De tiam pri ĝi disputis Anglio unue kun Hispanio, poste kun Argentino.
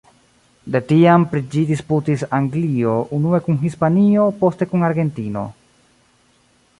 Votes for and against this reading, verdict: 2, 0, accepted